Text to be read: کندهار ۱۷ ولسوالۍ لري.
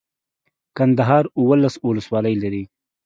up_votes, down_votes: 0, 2